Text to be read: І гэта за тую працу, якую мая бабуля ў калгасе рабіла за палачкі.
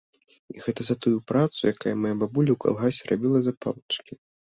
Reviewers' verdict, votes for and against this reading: rejected, 0, 2